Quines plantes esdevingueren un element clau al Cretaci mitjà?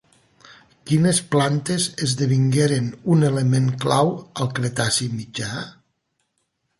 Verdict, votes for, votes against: accepted, 3, 0